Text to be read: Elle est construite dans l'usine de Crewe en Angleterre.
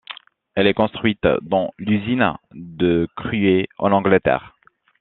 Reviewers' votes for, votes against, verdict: 0, 2, rejected